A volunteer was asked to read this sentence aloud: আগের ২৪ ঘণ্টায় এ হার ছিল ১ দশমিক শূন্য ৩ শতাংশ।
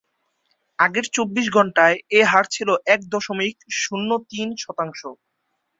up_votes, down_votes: 0, 2